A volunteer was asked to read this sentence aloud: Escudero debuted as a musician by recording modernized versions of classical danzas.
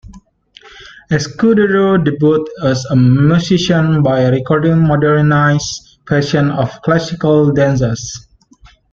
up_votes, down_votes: 1, 2